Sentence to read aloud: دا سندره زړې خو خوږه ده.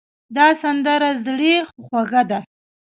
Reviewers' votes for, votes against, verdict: 2, 0, accepted